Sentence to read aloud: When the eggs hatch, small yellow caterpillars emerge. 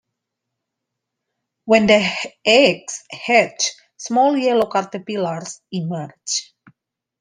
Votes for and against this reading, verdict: 2, 1, accepted